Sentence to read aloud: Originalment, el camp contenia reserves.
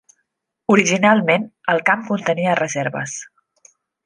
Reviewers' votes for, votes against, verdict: 3, 0, accepted